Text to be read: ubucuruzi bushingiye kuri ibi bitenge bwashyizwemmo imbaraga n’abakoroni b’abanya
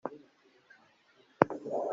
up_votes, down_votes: 0, 2